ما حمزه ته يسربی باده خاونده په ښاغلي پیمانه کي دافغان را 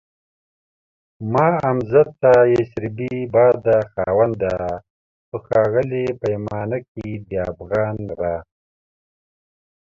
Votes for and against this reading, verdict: 2, 1, accepted